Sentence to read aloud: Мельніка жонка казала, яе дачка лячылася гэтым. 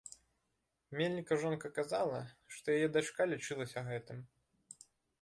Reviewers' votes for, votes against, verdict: 0, 3, rejected